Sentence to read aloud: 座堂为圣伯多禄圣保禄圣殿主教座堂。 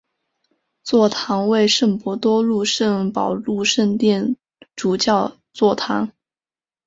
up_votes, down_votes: 2, 0